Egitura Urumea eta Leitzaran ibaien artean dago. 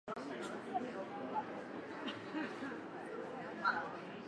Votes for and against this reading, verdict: 0, 3, rejected